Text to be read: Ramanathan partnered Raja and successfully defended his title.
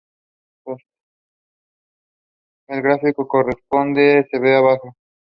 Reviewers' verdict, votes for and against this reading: rejected, 0, 2